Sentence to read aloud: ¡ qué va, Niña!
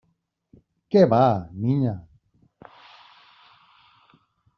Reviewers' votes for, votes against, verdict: 2, 0, accepted